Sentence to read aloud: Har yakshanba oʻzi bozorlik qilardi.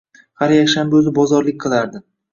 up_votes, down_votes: 1, 2